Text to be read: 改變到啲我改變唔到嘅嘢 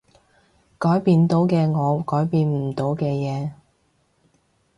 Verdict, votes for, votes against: rejected, 1, 2